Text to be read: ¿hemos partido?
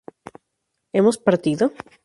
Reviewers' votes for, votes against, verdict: 2, 0, accepted